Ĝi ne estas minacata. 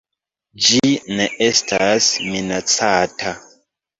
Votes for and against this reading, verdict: 2, 1, accepted